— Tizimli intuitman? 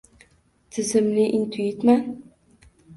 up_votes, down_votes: 1, 2